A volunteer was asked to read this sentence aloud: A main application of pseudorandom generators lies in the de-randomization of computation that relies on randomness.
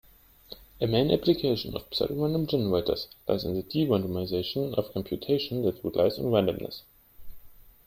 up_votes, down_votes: 1, 2